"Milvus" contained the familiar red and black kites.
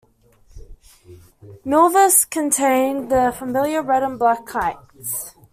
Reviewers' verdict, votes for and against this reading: accepted, 2, 0